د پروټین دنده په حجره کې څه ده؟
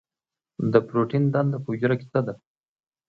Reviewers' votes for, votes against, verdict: 2, 0, accepted